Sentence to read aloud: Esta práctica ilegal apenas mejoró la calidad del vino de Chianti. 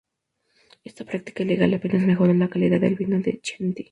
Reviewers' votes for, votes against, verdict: 0, 2, rejected